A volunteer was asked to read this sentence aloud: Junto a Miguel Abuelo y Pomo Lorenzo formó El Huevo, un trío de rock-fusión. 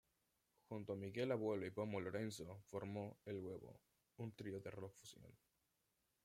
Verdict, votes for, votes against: accepted, 2, 0